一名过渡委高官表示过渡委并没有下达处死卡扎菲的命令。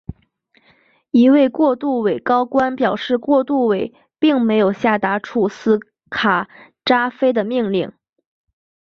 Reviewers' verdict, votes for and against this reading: rejected, 1, 2